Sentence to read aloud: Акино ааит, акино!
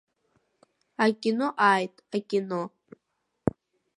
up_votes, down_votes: 2, 0